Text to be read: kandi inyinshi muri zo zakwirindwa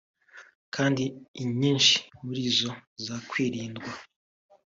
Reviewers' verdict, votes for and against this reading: accepted, 2, 1